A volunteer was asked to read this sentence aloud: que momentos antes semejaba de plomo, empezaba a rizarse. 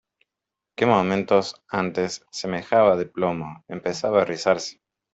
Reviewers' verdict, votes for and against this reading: accepted, 2, 0